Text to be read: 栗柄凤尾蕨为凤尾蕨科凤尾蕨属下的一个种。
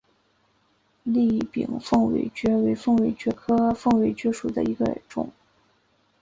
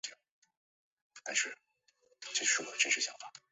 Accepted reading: first